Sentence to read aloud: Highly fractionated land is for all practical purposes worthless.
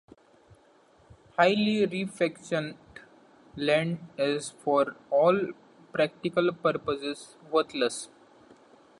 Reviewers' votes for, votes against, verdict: 1, 2, rejected